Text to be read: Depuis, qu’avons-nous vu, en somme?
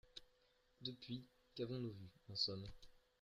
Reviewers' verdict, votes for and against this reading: rejected, 1, 2